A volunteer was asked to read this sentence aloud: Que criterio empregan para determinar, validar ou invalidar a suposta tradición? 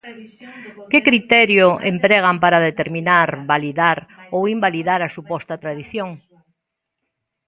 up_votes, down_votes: 2, 1